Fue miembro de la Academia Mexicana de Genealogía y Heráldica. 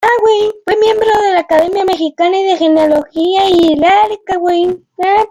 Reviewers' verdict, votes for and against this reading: rejected, 1, 2